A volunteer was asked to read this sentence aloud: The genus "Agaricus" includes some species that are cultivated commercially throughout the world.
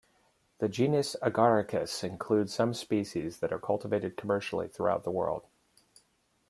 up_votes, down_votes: 2, 0